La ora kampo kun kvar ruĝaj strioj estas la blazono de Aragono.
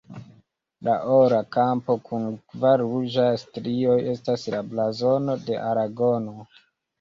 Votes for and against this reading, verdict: 2, 1, accepted